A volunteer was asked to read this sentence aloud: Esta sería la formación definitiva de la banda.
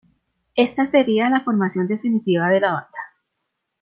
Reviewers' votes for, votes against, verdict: 2, 0, accepted